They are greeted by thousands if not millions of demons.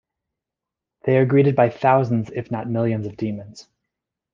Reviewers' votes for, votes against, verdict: 2, 0, accepted